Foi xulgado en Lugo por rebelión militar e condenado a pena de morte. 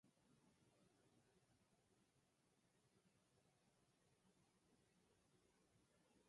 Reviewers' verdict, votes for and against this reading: rejected, 0, 4